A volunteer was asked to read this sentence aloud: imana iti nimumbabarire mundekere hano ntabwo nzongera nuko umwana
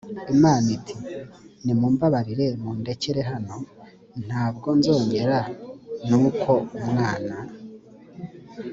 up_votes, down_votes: 2, 0